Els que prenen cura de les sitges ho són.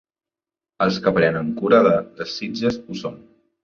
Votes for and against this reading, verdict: 0, 2, rejected